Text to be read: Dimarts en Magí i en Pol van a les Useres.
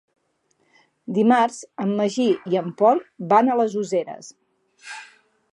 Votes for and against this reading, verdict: 4, 0, accepted